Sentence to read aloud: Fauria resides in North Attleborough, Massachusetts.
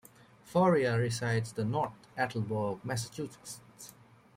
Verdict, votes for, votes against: rejected, 1, 2